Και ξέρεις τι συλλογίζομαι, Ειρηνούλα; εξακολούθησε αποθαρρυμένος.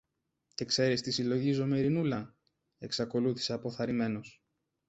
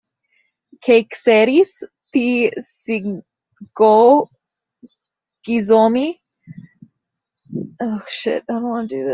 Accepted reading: first